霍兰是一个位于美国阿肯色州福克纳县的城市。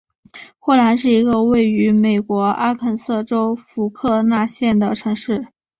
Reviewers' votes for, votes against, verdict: 4, 0, accepted